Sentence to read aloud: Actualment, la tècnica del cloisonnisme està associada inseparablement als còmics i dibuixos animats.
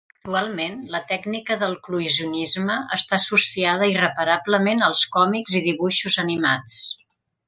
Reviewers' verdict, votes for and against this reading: rejected, 0, 2